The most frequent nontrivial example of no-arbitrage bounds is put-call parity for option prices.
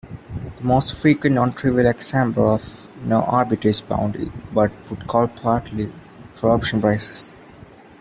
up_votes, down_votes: 1, 2